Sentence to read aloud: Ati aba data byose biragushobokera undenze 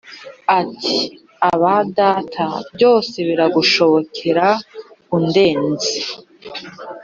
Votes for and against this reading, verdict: 2, 0, accepted